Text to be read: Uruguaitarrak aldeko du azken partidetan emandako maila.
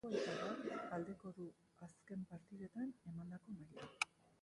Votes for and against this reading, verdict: 1, 2, rejected